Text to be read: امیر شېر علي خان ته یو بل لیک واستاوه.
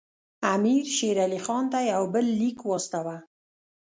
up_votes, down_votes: 1, 2